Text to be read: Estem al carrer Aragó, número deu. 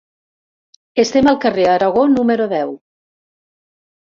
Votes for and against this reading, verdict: 3, 0, accepted